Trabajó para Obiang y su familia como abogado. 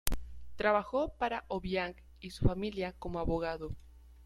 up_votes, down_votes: 2, 1